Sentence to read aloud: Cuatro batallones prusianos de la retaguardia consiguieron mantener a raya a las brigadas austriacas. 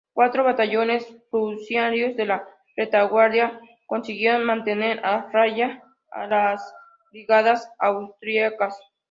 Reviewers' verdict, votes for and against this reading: rejected, 0, 2